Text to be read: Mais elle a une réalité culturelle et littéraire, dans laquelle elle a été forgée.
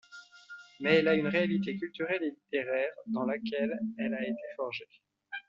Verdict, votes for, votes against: accepted, 2, 0